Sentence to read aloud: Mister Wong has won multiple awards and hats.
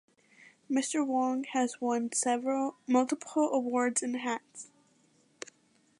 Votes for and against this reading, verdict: 0, 2, rejected